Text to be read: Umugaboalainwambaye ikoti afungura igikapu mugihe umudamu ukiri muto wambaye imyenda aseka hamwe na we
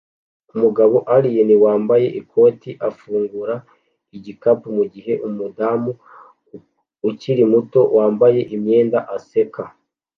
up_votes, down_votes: 1, 2